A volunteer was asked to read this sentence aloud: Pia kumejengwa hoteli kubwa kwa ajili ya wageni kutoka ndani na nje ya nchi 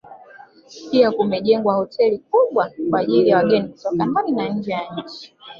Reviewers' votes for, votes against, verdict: 2, 0, accepted